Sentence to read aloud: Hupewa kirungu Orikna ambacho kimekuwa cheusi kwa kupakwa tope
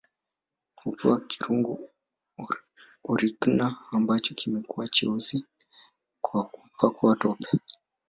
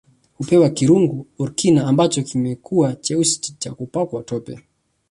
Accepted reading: second